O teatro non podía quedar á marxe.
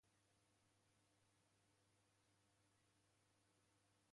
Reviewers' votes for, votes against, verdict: 0, 2, rejected